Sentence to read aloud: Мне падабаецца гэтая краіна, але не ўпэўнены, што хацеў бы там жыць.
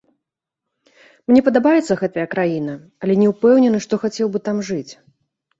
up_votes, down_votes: 2, 0